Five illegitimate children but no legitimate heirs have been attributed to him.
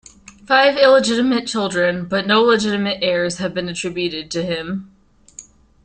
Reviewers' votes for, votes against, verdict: 0, 2, rejected